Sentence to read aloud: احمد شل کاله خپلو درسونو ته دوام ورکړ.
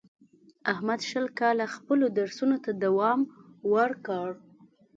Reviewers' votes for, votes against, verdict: 2, 0, accepted